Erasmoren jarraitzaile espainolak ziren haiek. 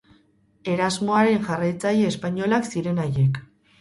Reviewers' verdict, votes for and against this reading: rejected, 2, 4